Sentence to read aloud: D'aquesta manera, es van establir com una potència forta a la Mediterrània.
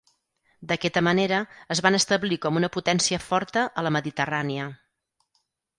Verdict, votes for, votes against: rejected, 2, 4